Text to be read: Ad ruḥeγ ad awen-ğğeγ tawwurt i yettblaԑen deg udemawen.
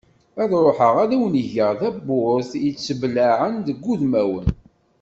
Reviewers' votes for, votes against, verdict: 1, 2, rejected